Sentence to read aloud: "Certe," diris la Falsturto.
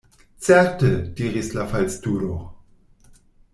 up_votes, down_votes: 1, 2